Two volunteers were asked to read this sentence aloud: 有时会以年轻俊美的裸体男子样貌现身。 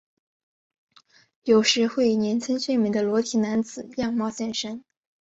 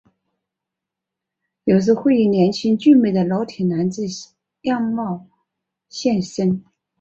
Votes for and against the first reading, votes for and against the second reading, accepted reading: 1, 2, 2, 0, second